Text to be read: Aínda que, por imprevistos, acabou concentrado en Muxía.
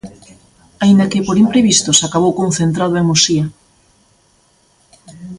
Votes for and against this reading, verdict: 2, 0, accepted